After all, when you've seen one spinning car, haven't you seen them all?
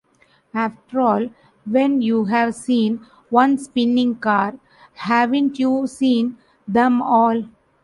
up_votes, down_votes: 0, 2